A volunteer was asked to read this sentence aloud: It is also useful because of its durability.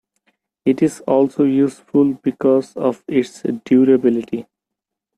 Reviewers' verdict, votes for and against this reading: accepted, 2, 0